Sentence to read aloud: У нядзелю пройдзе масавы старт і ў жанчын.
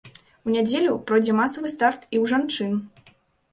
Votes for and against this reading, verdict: 2, 0, accepted